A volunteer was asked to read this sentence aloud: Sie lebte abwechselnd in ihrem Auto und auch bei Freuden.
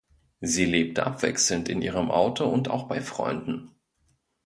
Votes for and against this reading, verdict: 2, 0, accepted